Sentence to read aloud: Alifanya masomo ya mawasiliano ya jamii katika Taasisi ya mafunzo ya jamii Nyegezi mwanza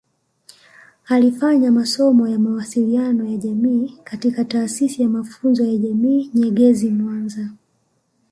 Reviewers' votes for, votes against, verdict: 2, 0, accepted